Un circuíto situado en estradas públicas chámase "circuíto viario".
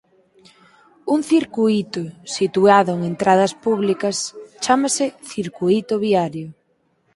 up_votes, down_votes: 0, 4